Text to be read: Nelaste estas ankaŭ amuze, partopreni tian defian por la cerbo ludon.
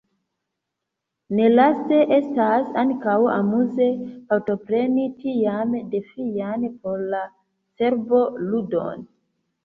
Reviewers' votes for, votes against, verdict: 2, 1, accepted